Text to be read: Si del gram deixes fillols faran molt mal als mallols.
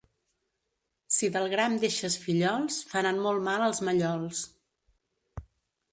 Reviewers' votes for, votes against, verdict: 2, 0, accepted